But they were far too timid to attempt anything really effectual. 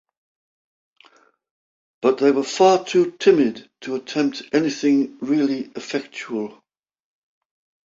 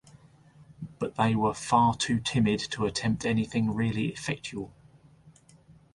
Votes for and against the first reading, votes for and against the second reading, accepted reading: 2, 0, 2, 2, first